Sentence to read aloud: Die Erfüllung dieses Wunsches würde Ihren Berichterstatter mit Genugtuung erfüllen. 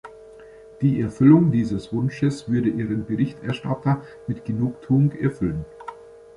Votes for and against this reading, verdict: 2, 0, accepted